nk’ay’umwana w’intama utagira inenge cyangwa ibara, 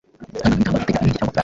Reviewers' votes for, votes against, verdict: 1, 2, rejected